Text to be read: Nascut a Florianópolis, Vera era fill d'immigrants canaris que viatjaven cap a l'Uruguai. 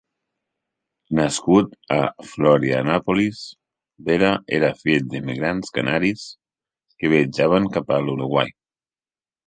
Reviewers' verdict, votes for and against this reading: accepted, 2, 0